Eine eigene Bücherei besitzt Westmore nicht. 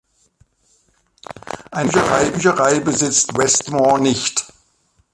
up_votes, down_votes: 0, 2